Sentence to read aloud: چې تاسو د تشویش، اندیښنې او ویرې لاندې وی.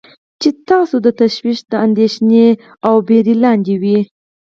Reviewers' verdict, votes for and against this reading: rejected, 2, 4